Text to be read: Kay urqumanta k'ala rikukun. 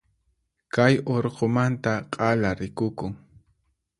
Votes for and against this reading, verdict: 4, 0, accepted